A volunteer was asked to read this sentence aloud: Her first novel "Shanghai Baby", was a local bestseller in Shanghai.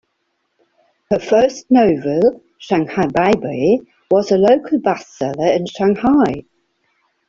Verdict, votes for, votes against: accepted, 2, 0